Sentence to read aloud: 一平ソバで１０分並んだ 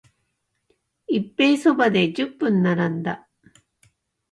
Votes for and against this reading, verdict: 0, 2, rejected